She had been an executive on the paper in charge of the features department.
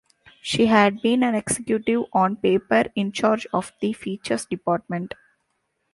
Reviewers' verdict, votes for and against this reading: rejected, 0, 2